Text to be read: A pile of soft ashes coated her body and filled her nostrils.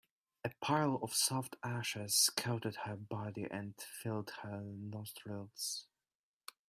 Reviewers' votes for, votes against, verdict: 2, 0, accepted